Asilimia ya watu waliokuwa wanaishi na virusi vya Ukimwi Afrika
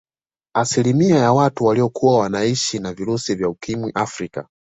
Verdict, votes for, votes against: accepted, 2, 0